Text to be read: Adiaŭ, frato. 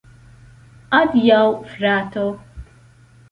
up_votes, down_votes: 2, 1